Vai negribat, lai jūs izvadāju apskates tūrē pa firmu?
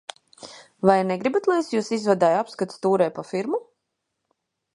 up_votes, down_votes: 1, 2